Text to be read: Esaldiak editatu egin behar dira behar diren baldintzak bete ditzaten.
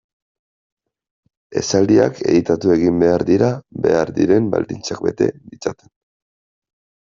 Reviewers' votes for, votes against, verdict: 1, 2, rejected